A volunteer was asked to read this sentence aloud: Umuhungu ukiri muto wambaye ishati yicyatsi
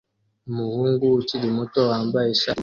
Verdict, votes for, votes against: rejected, 0, 2